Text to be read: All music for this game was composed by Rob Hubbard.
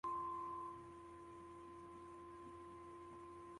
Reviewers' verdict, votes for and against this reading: rejected, 0, 2